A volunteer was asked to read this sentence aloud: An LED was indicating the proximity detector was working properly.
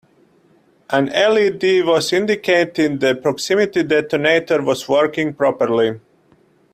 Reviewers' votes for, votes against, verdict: 0, 2, rejected